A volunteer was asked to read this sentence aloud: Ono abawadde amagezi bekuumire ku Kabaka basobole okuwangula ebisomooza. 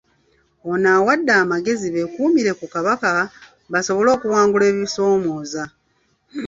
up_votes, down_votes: 2, 0